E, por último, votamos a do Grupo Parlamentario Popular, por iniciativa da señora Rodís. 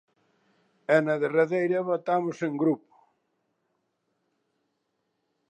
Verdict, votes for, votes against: rejected, 0, 2